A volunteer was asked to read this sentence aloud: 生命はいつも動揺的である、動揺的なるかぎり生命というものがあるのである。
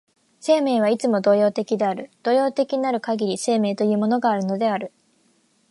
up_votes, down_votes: 2, 0